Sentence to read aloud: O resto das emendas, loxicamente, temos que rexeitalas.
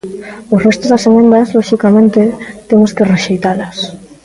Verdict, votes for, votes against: accepted, 2, 0